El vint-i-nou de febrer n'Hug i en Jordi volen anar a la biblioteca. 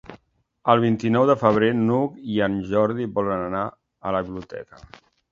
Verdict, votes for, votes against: accepted, 2, 1